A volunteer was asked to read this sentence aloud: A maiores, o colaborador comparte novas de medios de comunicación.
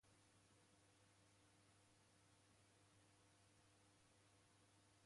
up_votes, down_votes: 0, 2